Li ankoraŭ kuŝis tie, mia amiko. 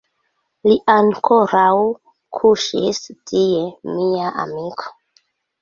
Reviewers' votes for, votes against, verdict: 1, 2, rejected